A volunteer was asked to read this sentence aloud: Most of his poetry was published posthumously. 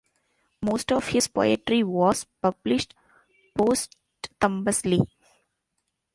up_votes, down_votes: 0, 2